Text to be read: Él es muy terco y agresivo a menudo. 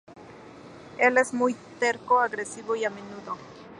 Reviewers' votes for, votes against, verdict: 0, 2, rejected